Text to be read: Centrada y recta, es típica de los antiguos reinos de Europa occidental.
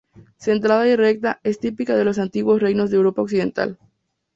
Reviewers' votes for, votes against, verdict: 2, 0, accepted